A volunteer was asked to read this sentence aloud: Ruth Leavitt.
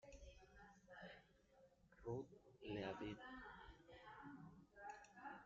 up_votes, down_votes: 1, 2